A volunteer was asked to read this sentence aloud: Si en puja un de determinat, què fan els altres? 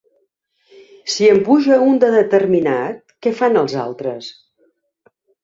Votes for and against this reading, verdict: 2, 0, accepted